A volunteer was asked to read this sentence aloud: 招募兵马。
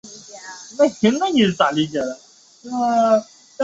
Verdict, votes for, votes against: rejected, 0, 3